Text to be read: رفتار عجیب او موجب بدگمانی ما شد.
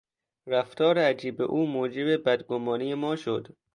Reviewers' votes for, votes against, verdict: 2, 0, accepted